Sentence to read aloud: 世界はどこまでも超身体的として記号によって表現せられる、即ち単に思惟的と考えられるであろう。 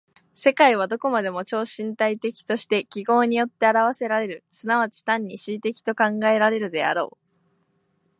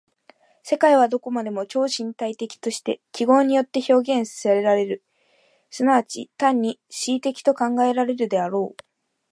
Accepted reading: first